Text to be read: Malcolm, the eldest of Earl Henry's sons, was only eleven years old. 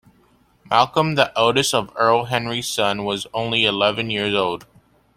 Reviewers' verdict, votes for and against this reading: rejected, 0, 2